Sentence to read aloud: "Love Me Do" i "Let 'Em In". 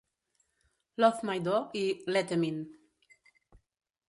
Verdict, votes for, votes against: rejected, 1, 2